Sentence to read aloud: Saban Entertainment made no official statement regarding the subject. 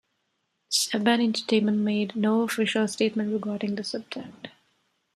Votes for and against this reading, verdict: 1, 2, rejected